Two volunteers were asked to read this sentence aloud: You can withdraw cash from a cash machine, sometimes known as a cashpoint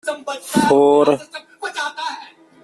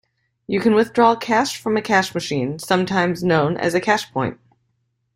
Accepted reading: second